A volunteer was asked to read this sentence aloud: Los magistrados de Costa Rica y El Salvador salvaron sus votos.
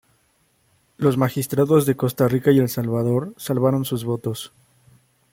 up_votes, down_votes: 2, 0